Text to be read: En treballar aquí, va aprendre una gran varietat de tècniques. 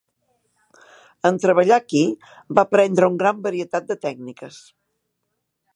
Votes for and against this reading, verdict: 0, 2, rejected